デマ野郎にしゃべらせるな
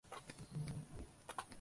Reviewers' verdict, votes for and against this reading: rejected, 1, 6